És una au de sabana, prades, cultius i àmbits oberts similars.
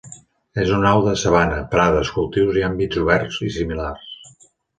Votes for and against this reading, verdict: 2, 1, accepted